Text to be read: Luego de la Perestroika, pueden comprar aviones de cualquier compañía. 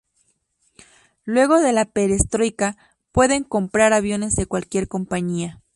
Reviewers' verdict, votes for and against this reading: rejected, 2, 2